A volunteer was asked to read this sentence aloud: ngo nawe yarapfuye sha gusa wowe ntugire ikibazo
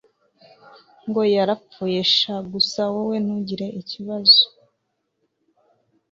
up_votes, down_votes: 1, 2